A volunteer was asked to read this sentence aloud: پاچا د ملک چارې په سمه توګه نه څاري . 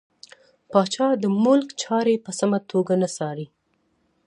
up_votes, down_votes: 2, 0